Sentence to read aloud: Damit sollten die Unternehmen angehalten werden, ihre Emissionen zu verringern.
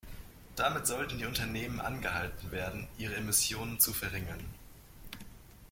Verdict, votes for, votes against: accepted, 2, 1